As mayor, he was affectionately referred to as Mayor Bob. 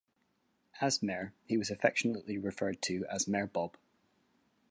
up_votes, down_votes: 2, 0